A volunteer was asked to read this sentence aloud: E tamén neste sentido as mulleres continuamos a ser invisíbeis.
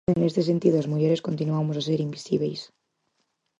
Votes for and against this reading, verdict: 0, 4, rejected